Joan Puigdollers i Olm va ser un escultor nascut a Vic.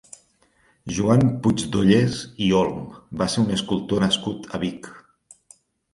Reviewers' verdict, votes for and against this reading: accepted, 4, 0